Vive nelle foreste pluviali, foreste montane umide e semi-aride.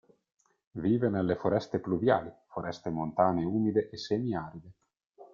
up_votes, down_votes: 1, 2